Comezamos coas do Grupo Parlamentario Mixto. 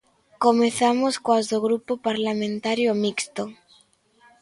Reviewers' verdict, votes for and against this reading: accepted, 2, 0